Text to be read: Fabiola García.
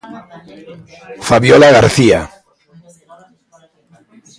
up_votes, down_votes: 0, 2